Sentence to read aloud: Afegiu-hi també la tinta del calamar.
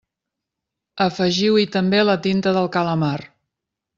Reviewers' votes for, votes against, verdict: 3, 0, accepted